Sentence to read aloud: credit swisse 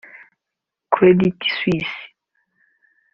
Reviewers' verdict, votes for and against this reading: rejected, 0, 2